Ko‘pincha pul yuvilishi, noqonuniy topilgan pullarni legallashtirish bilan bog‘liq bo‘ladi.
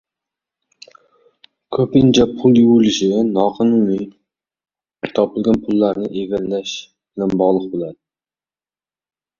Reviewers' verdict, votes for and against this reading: rejected, 0, 2